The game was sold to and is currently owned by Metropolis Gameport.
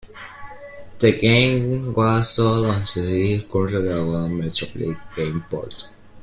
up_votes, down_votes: 0, 2